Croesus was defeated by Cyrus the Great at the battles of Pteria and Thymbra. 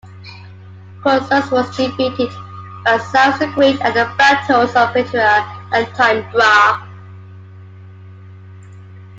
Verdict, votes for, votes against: rejected, 0, 2